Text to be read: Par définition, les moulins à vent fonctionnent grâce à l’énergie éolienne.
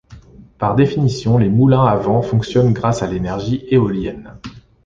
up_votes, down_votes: 2, 0